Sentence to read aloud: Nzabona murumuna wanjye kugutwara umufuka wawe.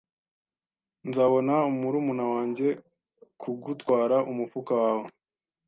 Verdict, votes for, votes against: accepted, 2, 0